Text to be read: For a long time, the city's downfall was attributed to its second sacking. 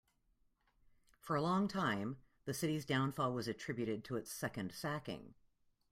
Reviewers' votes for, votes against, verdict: 2, 0, accepted